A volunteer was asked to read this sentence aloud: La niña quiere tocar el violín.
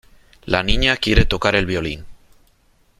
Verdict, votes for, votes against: accepted, 3, 0